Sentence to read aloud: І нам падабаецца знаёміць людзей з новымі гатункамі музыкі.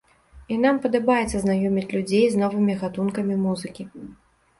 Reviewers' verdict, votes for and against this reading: accepted, 2, 0